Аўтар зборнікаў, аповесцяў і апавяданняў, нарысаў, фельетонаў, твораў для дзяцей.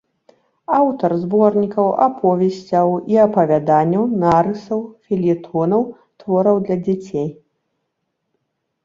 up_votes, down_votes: 2, 0